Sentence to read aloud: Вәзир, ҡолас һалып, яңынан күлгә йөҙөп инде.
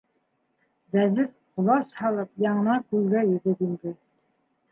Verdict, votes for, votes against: accepted, 2, 0